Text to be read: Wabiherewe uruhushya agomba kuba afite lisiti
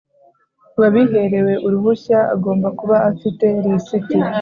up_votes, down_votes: 3, 0